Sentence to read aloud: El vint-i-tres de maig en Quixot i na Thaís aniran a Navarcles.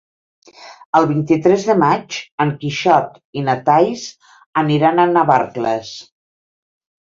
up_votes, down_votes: 0, 2